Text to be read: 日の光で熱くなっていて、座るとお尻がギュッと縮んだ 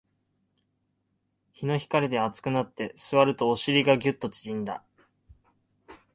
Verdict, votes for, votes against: rejected, 0, 2